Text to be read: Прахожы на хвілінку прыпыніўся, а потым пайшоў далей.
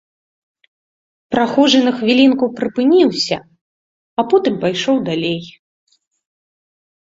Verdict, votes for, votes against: accepted, 2, 0